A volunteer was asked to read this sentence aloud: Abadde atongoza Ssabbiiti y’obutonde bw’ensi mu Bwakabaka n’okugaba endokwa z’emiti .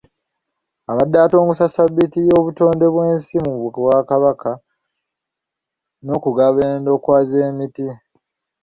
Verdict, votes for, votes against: rejected, 1, 2